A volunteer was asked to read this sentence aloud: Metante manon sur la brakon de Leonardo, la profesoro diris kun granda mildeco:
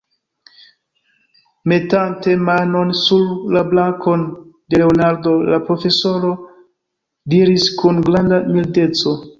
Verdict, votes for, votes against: rejected, 0, 2